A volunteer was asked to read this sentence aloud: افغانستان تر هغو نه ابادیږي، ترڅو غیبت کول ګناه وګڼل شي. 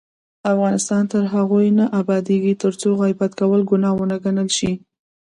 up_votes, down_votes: 0, 2